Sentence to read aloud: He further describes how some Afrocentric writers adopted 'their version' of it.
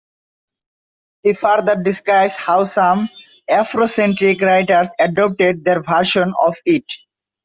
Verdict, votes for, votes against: accepted, 2, 0